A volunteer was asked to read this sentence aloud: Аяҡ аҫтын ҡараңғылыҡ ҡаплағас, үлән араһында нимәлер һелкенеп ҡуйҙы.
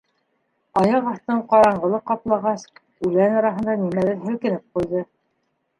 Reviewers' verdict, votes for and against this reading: rejected, 0, 2